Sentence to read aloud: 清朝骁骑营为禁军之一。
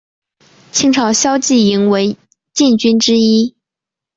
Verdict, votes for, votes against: accepted, 2, 1